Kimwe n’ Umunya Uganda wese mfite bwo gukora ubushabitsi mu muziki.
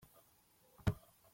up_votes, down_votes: 0, 2